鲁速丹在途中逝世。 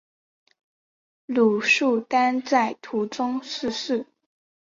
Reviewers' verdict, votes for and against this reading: accepted, 3, 0